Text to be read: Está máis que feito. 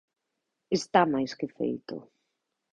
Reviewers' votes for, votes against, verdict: 2, 0, accepted